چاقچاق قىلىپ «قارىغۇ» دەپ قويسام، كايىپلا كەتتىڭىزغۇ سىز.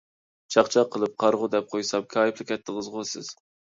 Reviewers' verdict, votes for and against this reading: accepted, 2, 0